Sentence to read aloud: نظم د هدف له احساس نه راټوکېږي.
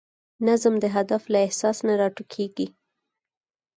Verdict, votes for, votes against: accepted, 4, 2